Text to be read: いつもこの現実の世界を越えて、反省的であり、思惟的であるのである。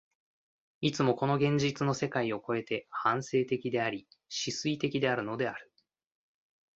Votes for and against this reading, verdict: 1, 2, rejected